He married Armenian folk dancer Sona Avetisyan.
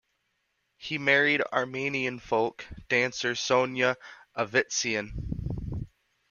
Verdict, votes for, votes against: rejected, 0, 2